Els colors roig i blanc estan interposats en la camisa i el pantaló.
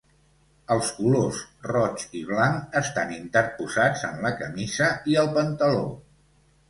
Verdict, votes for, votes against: accepted, 2, 0